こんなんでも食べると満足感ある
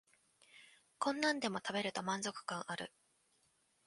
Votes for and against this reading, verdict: 2, 0, accepted